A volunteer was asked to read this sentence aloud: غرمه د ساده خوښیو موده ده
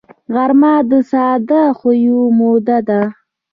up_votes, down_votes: 1, 2